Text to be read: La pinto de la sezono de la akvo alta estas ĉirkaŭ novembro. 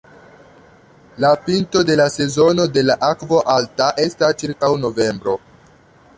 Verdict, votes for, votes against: rejected, 1, 2